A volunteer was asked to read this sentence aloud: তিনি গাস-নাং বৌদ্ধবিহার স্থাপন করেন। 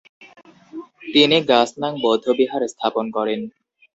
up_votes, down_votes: 2, 0